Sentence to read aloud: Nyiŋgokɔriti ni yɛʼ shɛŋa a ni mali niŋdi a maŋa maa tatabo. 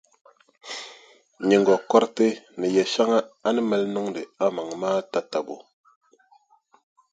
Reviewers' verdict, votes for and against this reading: accepted, 2, 0